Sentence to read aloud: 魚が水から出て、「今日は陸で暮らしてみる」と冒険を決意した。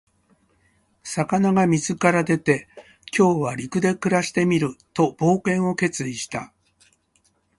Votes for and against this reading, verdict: 2, 0, accepted